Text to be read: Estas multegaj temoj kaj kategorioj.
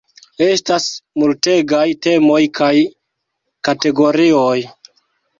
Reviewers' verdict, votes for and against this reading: rejected, 1, 2